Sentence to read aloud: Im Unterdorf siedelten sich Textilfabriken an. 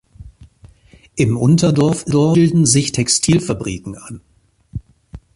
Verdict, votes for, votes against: rejected, 0, 2